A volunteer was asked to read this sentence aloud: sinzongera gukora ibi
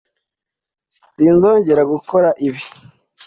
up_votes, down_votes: 2, 0